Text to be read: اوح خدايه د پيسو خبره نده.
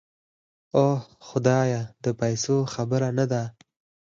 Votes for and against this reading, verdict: 4, 0, accepted